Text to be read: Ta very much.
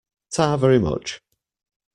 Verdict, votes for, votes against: accepted, 2, 0